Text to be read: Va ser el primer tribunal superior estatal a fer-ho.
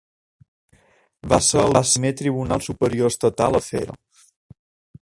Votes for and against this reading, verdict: 0, 2, rejected